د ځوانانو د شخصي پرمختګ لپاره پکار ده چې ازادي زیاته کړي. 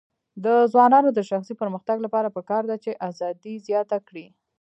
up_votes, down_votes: 1, 2